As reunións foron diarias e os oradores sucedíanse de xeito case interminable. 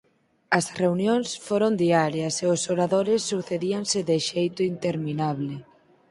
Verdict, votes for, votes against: rejected, 0, 4